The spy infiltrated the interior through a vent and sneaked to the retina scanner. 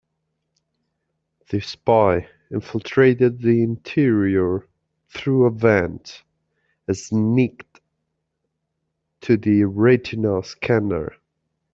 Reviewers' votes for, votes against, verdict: 0, 2, rejected